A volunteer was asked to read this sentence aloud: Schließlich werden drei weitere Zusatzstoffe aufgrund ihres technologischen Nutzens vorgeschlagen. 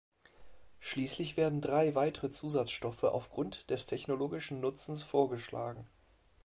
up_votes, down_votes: 1, 2